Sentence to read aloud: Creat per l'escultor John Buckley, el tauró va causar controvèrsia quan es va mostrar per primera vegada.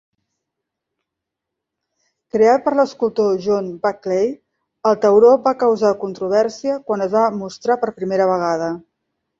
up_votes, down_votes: 2, 0